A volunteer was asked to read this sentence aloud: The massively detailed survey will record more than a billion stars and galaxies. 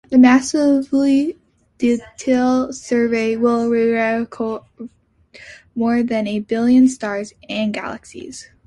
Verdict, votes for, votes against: rejected, 0, 2